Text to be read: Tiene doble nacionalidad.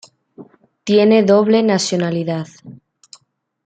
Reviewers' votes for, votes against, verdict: 1, 2, rejected